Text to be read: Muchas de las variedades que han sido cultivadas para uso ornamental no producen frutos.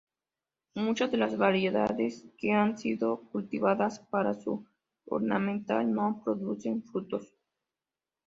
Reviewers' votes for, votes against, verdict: 1, 2, rejected